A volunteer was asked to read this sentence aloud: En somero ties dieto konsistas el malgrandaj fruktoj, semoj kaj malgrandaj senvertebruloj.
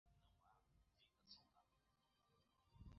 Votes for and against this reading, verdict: 0, 2, rejected